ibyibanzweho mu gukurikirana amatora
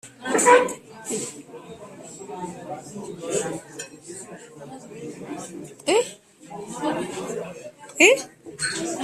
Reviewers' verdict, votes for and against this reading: rejected, 0, 2